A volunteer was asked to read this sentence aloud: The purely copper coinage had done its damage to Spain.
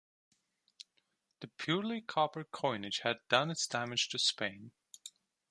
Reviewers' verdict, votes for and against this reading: accepted, 2, 0